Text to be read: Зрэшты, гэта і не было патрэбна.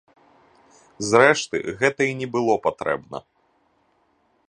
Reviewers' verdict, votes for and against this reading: accepted, 2, 0